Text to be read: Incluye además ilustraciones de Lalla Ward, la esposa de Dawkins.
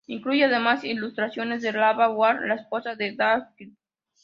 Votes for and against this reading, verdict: 0, 2, rejected